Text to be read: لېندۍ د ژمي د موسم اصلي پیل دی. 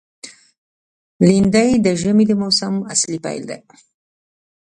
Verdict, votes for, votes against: rejected, 0, 2